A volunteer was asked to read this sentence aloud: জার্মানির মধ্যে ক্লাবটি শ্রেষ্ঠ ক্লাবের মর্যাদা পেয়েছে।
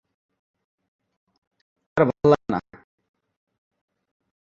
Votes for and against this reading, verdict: 1, 20, rejected